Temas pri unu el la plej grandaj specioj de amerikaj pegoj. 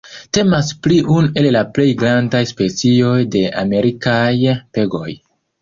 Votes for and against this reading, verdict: 0, 2, rejected